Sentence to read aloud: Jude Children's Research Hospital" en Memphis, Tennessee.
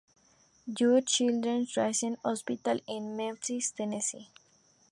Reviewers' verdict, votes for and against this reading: rejected, 0, 2